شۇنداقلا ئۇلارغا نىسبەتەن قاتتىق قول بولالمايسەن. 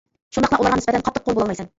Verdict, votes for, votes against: rejected, 0, 2